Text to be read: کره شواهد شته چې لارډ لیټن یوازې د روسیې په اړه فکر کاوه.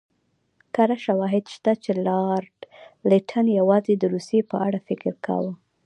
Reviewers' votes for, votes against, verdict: 2, 0, accepted